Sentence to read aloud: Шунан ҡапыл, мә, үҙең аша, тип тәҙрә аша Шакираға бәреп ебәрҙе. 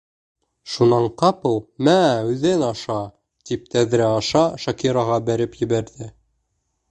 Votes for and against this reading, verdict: 0, 2, rejected